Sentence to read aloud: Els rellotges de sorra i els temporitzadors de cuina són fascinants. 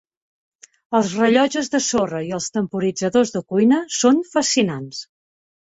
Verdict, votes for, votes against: accepted, 3, 0